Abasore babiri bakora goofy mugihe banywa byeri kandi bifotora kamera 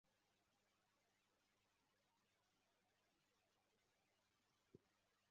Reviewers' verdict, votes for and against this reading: rejected, 0, 2